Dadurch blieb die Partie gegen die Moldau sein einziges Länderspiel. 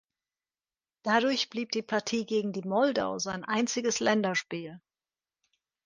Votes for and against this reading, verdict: 2, 0, accepted